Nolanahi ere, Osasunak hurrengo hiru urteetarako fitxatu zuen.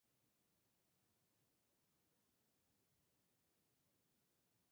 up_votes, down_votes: 0, 2